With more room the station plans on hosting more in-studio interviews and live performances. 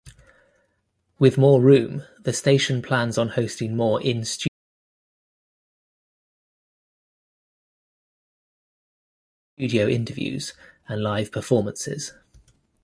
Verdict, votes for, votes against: rejected, 0, 4